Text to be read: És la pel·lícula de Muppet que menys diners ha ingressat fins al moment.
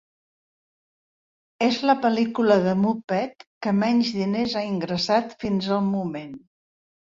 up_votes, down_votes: 3, 1